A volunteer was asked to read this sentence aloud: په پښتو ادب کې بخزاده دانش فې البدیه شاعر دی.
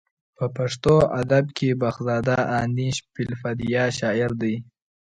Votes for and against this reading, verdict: 2, 0, accepted